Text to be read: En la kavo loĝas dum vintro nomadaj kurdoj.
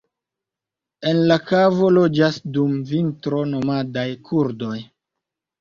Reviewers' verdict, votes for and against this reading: accepted, 3, 0